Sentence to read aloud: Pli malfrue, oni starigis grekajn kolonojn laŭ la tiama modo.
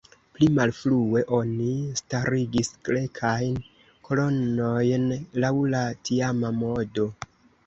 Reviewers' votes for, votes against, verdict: 2, 0, accepted